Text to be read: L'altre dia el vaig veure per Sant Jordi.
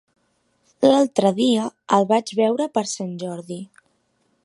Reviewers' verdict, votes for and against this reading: accepted, 4, 0